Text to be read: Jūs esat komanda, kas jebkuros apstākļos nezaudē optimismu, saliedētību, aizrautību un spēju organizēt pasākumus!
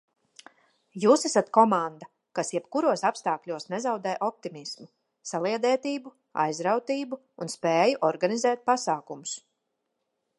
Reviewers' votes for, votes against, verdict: 2, 0, accepted